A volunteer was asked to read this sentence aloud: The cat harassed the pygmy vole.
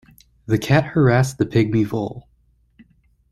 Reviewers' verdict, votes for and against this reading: accepted, 2, 0